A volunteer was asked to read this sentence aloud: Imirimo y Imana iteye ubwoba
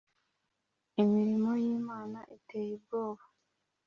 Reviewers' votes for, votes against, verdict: 3, 0, accepted